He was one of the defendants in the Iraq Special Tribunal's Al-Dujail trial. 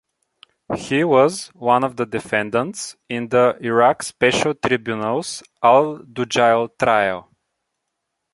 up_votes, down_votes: 2, 1